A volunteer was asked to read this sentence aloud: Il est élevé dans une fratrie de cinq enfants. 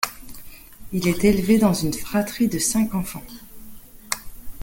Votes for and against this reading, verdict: 2, 0, accepted